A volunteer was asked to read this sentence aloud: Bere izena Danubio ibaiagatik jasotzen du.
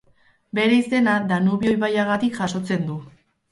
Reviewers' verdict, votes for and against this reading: rejected, 2, 2